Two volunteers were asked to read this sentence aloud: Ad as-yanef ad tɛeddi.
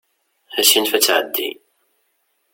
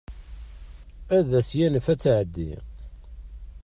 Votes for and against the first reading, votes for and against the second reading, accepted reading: 1, 2, 2, 0, second